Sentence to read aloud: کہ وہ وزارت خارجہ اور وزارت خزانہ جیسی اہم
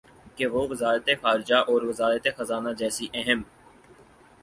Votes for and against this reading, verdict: 6, 0, accepted